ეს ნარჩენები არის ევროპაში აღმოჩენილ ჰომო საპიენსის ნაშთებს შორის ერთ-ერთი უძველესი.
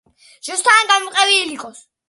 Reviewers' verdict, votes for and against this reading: rejected, 0, 2